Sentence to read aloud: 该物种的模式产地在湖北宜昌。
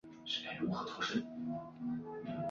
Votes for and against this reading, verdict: 0, 2, rejected